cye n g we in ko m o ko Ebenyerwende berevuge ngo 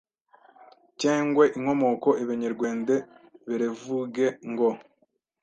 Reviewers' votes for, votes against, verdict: 1, 2, rejected